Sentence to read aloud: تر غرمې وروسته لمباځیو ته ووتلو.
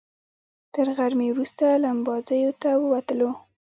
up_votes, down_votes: 1, 2